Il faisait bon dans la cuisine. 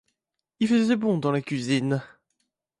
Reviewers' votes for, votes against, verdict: 2, 1, accepted